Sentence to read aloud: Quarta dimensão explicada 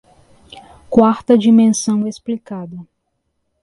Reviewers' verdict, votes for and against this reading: accepted, 3, 0